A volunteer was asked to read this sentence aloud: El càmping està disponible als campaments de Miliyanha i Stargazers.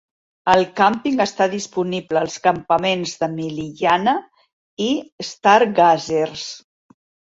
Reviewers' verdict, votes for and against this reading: accepted, 2, 0